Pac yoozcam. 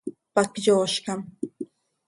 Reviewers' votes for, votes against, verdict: 2, 0, accepted